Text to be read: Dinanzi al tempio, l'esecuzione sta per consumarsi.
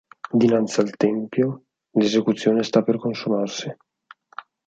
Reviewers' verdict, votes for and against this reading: accepted, 4, 0